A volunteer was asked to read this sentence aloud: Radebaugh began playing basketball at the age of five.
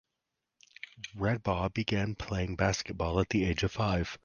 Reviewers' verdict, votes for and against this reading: accepted, 4, 0